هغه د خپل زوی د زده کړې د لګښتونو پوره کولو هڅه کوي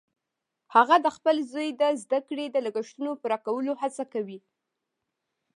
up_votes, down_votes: 2, 0